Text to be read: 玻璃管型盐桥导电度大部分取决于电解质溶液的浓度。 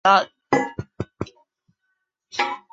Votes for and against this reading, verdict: 0, 2, rejected